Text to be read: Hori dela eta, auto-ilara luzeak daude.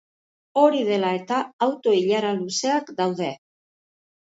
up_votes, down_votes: 2, 0